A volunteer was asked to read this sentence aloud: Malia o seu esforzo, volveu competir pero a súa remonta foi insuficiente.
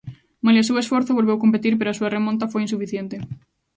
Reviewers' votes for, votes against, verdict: 2, 0, accepted